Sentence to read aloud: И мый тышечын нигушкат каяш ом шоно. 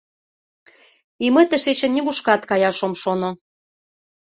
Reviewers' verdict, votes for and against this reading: accepted, 2, 0